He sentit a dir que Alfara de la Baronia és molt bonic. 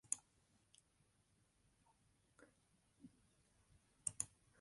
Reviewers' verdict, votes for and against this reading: rejected, 0, 2